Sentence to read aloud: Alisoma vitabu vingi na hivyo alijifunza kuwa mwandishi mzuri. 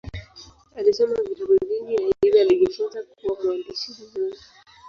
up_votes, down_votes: 0, 2